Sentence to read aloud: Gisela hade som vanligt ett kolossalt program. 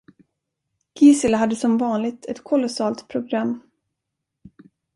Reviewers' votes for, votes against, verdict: 2, 0, accepted